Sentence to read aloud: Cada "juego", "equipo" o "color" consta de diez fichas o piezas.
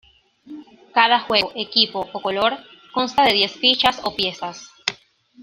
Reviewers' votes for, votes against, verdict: 2, 0, accepted